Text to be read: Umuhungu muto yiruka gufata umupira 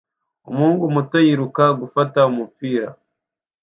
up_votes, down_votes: 2, 0